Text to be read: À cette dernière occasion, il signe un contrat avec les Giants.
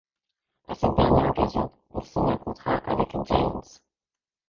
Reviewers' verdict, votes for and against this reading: rejected, 0, 2